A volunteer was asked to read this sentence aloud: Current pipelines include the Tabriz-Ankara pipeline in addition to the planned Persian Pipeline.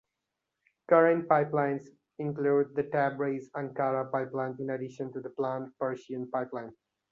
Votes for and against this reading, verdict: 2, 0, accepted